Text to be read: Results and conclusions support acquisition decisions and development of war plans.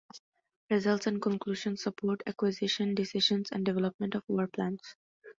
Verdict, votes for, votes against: accepted, 2, 1